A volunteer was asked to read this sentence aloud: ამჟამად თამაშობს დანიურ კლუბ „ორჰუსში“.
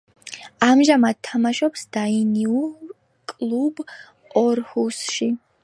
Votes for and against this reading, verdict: 0, 2, rejected